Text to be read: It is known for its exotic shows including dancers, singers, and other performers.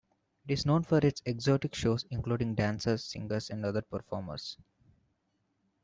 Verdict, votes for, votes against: accepted, 2, 0